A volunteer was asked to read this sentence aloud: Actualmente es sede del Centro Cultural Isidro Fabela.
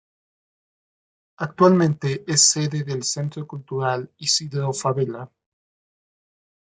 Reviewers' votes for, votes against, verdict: 2, 0, accepted